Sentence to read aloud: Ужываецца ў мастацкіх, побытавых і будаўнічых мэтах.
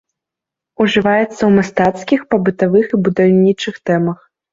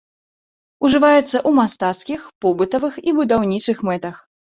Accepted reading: second